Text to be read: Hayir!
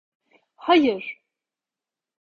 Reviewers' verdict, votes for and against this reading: accepted, 2, 0